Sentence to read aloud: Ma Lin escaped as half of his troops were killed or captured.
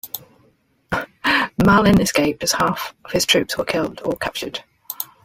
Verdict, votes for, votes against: accepted, 2, 1